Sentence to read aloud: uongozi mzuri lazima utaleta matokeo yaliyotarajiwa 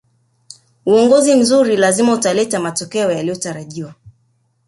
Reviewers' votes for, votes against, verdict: 0, 2, rejected